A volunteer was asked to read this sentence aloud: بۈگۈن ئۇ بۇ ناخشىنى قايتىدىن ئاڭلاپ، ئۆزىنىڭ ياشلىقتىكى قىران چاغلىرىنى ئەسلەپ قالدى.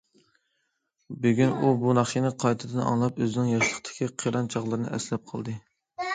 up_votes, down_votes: 2, 1